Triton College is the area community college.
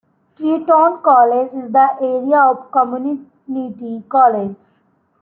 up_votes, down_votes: 0, 2